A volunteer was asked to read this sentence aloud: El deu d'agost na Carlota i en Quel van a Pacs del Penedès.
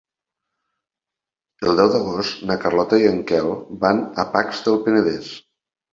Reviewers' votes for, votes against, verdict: 4, 0, accepted